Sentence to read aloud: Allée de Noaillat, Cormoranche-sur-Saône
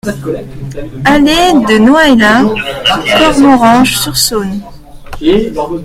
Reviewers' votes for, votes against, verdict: 0, 2, rejected